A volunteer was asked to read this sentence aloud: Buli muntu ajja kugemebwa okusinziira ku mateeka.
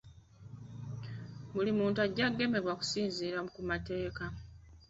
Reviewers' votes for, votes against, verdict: 3, 1, accepted